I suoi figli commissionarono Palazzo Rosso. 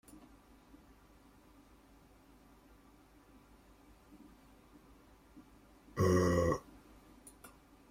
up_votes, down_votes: 0, 2